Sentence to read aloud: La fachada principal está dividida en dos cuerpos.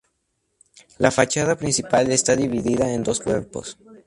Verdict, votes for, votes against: accepted, 2, 0